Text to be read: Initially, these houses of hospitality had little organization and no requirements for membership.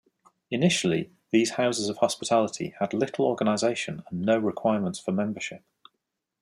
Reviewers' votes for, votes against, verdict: 2, 0, accepted